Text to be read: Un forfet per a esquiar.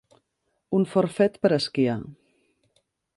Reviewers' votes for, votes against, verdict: 3, 0, accepted